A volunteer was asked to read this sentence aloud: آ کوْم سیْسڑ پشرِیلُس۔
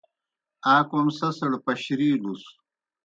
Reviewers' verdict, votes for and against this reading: accepted, 2, 0